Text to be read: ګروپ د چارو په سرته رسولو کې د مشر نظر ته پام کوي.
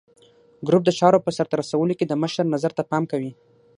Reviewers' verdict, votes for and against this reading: accepted, 6, 0